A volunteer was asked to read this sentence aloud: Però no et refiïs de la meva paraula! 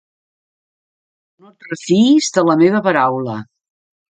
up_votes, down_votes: 0, 3